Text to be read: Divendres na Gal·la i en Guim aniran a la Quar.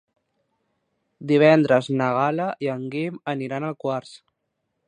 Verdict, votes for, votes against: rejected, 0, 2